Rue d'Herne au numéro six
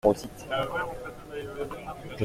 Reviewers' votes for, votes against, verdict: 0, 2, rejected